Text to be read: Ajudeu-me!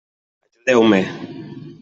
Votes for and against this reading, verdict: 0, 2, rejected